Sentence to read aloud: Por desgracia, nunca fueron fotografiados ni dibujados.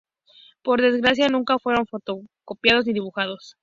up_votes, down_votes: 2, 6